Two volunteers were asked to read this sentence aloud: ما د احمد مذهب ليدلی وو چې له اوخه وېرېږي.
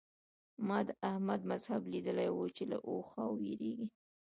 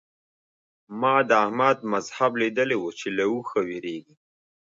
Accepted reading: second